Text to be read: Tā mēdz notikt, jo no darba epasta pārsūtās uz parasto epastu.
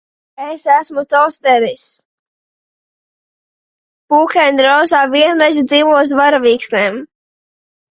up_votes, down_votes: 0, 2